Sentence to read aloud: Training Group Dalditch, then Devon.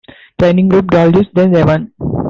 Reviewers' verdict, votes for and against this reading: accepted, 2, 1